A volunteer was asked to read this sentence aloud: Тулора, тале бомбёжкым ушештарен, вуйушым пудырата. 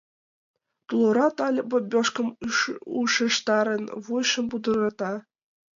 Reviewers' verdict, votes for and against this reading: rejected, 1, 2